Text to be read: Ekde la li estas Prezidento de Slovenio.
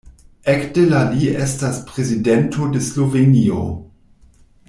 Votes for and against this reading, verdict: 2, 1, accepted